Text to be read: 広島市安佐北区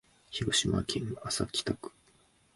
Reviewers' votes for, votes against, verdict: 2, 1, accepted